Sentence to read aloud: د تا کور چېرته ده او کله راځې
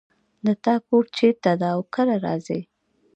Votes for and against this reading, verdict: 1, 2, rejected